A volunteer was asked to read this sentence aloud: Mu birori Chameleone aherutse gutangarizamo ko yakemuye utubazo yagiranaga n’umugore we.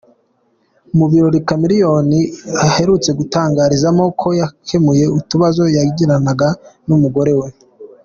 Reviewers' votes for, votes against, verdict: 3, 0, accepted